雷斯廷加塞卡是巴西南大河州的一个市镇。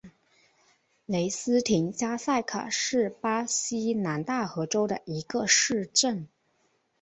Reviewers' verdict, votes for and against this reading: accepted, 3, 0